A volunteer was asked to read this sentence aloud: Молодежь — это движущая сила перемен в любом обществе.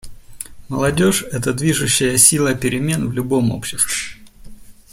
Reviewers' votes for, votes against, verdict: 2, 0, accepted